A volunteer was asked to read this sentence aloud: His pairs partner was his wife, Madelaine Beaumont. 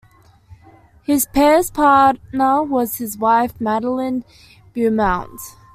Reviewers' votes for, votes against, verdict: 1, 2, rejected